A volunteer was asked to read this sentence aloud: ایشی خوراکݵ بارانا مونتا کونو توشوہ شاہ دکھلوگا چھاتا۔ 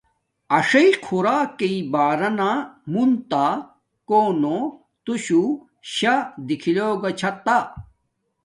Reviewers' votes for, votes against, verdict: 2, 0, accepted